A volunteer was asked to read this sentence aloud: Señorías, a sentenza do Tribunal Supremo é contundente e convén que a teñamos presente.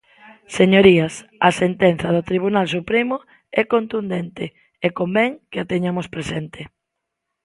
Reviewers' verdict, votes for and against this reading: accepted, 2, 0